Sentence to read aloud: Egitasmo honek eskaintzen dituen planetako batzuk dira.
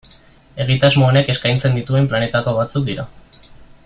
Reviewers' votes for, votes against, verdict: 2, 0, accepted